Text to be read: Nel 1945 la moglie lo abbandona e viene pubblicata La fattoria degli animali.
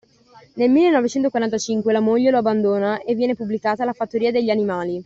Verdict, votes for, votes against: rejected, 0, 2